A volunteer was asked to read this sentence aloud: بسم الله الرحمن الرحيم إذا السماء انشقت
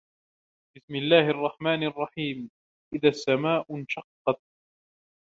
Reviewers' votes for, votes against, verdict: 0, 2, rejected